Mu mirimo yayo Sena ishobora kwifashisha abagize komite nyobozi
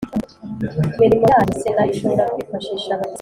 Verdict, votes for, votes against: rejected, 2, 3